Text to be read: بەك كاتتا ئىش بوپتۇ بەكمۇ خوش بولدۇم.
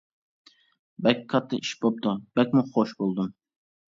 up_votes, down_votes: 2, 1